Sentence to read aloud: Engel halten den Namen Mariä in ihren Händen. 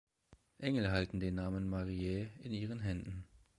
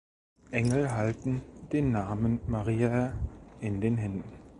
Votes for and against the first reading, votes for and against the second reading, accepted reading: 2, 0, 0, 2, first